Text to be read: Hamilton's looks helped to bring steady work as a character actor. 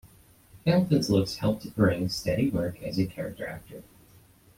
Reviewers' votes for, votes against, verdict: 1, 2, rejected